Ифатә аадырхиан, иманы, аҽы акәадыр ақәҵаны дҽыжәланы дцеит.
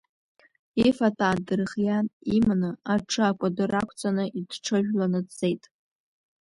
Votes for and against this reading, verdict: 0, 2, rejected